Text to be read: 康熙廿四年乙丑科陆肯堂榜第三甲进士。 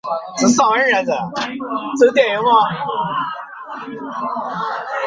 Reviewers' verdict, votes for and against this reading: rejected, 0, 2